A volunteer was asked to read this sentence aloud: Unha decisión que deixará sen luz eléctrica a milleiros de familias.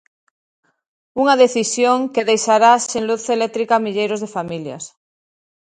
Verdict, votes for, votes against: accepted, 2, 0